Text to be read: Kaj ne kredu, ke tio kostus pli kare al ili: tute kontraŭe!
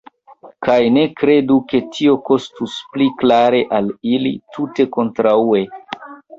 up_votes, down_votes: 0, 2